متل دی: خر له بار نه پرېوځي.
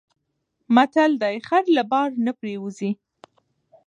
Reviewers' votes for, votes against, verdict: 1, 2, rejected